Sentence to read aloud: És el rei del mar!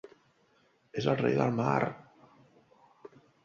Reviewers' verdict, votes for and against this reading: accepted, 2, 0